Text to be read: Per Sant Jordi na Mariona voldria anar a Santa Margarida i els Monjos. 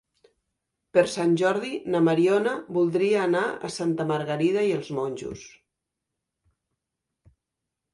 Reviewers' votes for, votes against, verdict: 3, 0, accepted